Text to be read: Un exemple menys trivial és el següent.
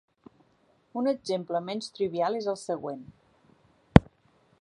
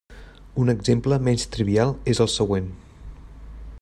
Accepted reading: first